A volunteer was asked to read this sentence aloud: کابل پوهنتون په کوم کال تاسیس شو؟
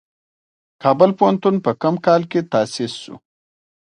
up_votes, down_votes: 2, 1